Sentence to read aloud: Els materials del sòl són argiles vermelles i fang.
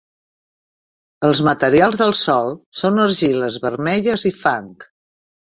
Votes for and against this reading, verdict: 0, 2, rejected